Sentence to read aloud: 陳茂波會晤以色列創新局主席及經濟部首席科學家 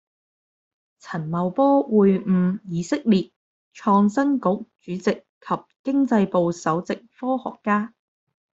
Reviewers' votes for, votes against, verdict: 0, 2, rejected